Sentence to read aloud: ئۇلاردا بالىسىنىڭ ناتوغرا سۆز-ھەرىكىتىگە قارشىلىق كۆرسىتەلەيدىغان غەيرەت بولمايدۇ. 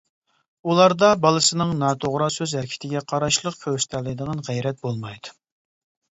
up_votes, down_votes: 0, 2